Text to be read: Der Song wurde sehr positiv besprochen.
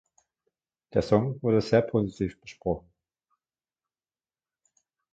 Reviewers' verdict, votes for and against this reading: accepted, 2, 1